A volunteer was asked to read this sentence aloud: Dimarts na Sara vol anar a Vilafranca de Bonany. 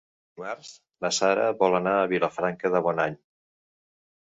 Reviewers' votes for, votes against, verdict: 0, 2, rejected